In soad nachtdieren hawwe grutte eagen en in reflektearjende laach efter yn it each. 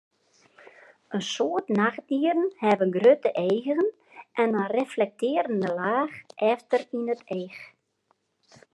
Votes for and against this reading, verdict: 2, 0, accepted